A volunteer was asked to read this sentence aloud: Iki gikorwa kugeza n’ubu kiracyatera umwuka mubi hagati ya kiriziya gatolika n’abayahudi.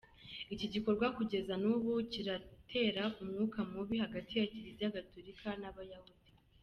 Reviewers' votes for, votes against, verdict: 1, 2, rejected